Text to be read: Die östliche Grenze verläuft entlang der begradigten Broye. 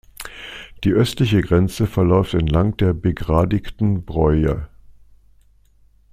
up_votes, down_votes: 2, 0